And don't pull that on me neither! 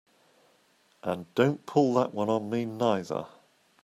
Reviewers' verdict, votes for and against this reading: rejected, 0, 2